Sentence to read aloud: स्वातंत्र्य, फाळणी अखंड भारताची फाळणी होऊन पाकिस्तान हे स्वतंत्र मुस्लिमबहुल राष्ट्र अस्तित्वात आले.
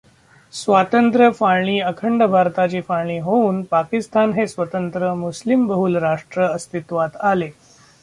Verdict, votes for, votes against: rejected, 0, 2